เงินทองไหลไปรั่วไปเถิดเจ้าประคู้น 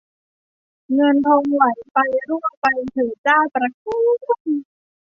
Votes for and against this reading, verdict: 2, 0, accepted